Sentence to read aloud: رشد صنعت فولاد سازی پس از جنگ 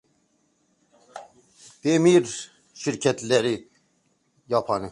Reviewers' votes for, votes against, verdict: 0, 2, rejected